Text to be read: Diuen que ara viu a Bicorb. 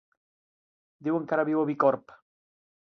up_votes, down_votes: 3, 0